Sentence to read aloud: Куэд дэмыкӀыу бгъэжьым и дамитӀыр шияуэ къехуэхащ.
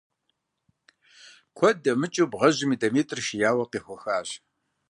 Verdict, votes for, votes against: accepted, 2, 0